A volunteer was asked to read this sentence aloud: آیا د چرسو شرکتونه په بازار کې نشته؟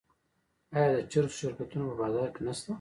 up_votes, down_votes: 0, 2